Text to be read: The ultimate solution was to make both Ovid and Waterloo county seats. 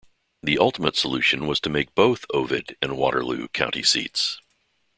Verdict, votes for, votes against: accepted, 2, 0